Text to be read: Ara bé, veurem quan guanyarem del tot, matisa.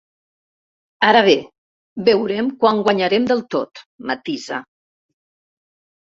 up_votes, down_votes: 3, 0